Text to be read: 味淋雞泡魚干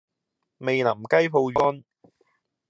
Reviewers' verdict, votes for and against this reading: accepted, 2, 0